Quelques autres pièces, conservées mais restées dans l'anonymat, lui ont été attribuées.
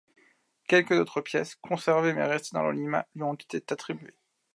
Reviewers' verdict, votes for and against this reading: rejected, 0, 2